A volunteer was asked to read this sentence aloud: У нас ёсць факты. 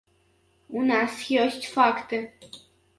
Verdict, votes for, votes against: accepted, 2, 0